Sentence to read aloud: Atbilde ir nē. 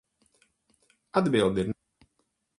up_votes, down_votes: 0, 4